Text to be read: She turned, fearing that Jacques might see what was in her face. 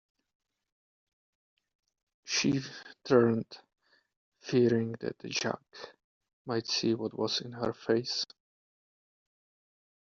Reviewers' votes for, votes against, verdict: 1, 2, rejected